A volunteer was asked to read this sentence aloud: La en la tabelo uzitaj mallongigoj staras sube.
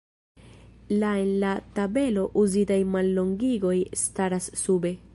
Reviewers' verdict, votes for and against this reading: rejected, 1, 2